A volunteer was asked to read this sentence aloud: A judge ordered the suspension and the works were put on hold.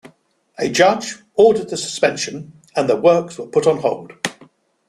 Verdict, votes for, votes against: accepted, 2, 0